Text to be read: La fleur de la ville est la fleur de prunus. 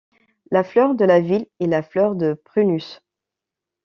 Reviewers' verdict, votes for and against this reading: accepted, 2, 0